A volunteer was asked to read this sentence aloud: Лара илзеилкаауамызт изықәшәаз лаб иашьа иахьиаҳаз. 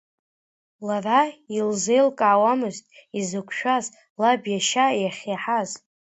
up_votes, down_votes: 2, 1